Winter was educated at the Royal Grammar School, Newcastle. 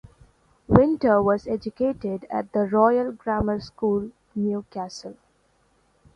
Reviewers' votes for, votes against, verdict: 0, 2, rejected